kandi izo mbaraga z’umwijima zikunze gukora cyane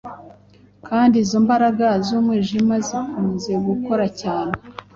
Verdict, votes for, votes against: accepted, 2, 0